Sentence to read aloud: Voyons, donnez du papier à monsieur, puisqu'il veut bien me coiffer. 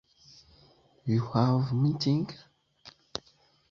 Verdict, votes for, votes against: rejected, 1, 2